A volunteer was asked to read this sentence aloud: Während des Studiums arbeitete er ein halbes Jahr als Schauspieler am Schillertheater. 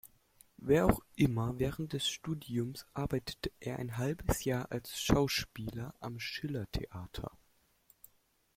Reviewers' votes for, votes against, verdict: 0, 2, rejected